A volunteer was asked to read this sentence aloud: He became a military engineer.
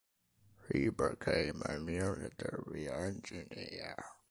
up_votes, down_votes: 2, 1